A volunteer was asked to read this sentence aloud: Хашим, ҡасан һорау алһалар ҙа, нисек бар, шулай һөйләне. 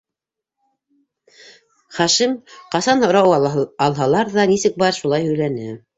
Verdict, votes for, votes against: rejected, 0, 2